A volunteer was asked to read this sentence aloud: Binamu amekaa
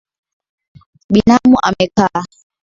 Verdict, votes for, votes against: accepted, 6, 2